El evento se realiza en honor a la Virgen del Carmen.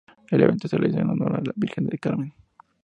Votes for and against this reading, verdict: 2, 0, accepted